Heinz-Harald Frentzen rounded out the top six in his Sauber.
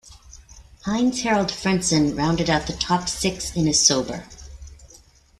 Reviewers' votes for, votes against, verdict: 2, 0, accepted